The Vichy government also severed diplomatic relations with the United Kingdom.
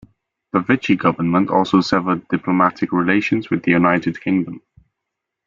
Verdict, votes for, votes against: accepted, 2, 1